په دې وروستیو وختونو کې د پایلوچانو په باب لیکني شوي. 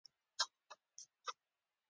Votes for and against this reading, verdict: 0, 2, rejected